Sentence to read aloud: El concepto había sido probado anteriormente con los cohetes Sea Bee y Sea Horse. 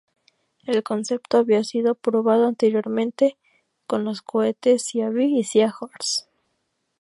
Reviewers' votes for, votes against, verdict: 0, 2, rejected